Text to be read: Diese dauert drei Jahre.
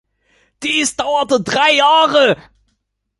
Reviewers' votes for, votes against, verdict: 0, 2, rejected